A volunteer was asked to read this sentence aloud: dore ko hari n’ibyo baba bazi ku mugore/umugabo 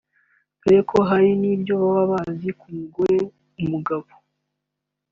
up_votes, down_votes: 2, 0